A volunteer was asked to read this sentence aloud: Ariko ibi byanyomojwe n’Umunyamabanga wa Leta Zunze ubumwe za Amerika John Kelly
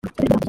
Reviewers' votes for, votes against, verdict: 1, 3, rejected